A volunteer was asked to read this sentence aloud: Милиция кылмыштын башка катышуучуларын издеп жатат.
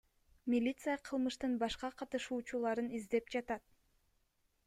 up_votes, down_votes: 2, 0